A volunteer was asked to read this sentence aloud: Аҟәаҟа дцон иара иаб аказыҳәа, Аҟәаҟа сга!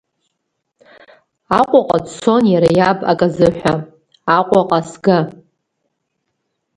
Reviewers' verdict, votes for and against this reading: rejected, 0, 2